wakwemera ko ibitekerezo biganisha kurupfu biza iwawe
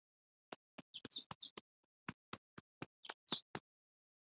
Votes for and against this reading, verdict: 0, 3, rejected